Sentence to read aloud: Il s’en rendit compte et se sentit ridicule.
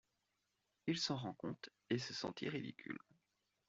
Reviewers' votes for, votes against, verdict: 1, 2, rejected